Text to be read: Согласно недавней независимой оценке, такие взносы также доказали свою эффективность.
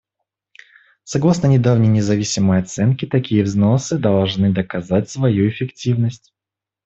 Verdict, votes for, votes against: rejected, 0, 2